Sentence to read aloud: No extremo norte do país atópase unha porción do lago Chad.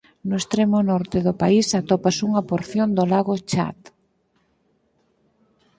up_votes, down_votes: 4, 0